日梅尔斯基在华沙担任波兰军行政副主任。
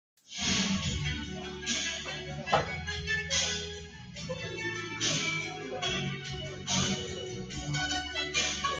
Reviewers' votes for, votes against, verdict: 0, 2, rejected